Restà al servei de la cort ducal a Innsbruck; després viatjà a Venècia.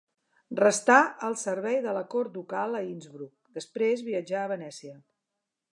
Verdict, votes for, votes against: accepted, 2, 0